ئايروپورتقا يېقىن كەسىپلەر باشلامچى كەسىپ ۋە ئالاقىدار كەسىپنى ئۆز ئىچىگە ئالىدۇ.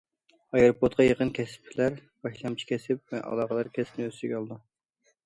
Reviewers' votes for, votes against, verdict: 2, 0, accepted